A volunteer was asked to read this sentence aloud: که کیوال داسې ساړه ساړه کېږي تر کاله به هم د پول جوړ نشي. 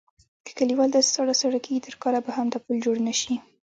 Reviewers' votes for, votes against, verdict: 0, 2, rejected